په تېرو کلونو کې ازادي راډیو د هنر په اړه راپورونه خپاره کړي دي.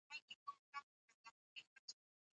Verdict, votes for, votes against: rejected, 1, 2